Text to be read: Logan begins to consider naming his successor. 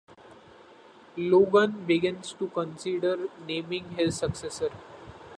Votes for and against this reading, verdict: 2, 0, accepted